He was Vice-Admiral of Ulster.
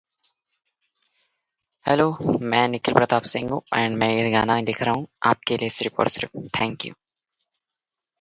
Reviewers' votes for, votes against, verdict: 0, 2, rejected